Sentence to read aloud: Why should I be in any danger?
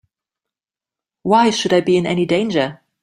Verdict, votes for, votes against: accepted, 2, 0